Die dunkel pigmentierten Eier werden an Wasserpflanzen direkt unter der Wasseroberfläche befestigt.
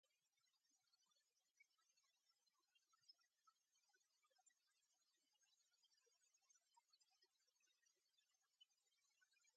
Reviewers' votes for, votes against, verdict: 0, 2, rejected